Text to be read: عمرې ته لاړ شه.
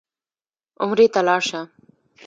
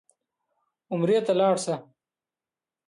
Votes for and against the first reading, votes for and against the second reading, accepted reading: 0, 2, 2, 1, second